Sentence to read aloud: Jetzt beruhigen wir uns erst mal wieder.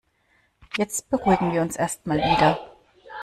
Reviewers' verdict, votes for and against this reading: rejected, 1, 2